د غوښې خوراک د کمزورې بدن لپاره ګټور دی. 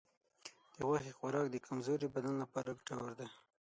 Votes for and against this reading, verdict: 0, 6, rejected